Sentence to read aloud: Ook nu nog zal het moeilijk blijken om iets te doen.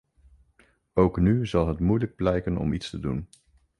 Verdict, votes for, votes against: rejected, 0, 2